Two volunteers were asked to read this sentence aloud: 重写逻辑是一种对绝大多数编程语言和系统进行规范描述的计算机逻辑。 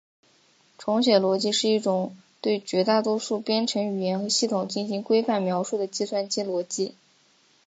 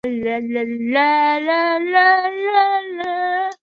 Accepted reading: first